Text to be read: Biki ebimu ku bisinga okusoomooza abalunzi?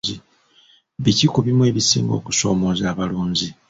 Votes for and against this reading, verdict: 0, 2, rejected